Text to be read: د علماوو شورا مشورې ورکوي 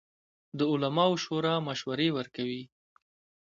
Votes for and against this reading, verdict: 2, 0, accepted